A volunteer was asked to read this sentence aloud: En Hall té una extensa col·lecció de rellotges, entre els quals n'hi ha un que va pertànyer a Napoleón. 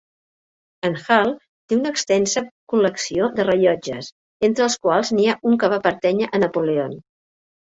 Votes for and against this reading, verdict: 1, 2, rejected